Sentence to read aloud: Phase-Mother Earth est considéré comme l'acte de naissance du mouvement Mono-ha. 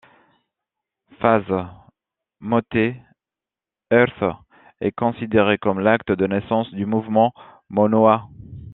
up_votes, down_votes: 0, 2